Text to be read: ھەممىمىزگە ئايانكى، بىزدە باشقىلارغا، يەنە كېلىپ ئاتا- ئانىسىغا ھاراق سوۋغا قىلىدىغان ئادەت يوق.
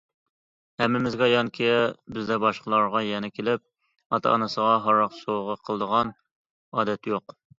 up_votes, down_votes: 2, 0